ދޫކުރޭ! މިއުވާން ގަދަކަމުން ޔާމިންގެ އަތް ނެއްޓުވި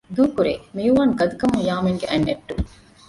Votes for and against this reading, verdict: 1, 2, rejected